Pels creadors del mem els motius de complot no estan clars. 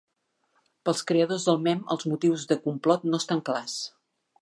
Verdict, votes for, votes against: accepted, 2, 0